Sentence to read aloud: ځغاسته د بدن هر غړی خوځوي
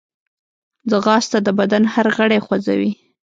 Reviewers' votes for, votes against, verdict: 2, 0, accepted